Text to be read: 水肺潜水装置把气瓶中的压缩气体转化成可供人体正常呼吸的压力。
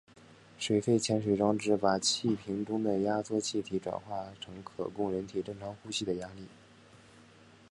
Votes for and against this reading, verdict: 3, 1, accepted